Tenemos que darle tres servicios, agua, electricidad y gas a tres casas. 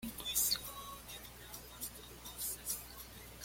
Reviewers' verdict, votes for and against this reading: rejected, 1, 2